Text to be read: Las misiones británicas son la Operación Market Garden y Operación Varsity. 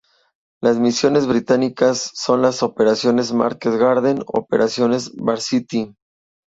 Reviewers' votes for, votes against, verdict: 0, 2, rejected